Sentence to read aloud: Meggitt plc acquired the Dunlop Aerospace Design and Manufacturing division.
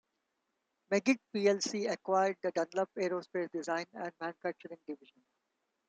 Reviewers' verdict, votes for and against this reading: accepted, 2, 0